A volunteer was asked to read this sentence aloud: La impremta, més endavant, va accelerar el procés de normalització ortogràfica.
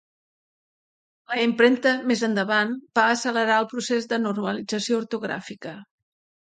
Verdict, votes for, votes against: accepted, 2, 0